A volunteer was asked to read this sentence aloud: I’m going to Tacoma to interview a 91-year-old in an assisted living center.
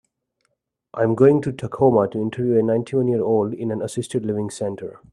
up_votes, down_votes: 0, 2